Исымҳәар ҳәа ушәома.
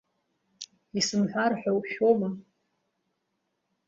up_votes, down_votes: 2, 0